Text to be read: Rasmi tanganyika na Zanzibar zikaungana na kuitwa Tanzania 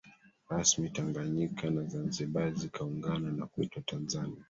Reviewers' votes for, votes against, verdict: 1, 2, rejected